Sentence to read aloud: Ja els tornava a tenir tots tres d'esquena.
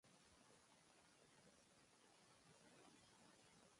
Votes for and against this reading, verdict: 0, 2, rejected